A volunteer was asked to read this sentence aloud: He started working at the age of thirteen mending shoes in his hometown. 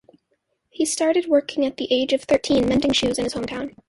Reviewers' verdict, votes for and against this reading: rejected, 1, 2